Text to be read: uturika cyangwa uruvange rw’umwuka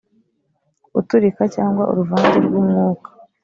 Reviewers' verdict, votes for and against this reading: accepted, 2, 0